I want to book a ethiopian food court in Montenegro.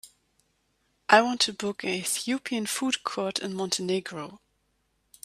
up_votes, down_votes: 1, 2